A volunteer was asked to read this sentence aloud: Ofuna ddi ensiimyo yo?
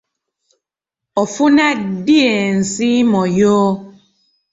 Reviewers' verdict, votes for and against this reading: accepted, 2, 1